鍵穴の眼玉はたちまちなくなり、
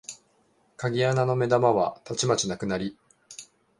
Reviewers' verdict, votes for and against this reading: accepted, 2, 0